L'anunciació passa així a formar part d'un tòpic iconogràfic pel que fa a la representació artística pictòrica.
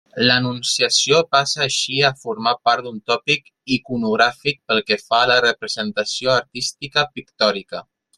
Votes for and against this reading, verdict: 1, 2, rejected